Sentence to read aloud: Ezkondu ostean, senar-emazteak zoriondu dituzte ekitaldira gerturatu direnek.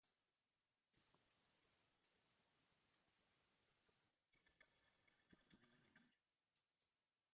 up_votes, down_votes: 0, 2